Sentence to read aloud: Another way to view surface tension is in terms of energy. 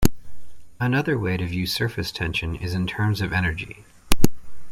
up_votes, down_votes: 2, 0